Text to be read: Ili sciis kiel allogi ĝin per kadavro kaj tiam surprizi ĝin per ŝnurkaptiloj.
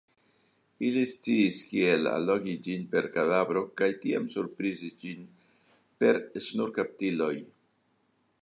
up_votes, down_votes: 0, 2